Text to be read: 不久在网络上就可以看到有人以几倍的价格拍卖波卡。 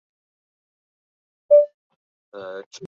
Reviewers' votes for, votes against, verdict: 0, 2, rejected